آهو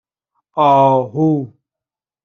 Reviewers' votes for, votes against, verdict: 2, 0, accepted